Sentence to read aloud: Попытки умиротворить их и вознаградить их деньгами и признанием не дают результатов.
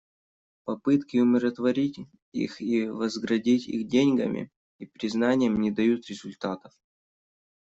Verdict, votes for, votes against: rejected, 0, 2